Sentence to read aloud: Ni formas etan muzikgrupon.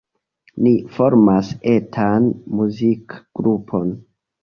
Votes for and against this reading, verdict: 3, 0, accepted